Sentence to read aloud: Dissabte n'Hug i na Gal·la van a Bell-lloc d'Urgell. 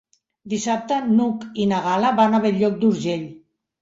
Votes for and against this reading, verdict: 3, 0, accepted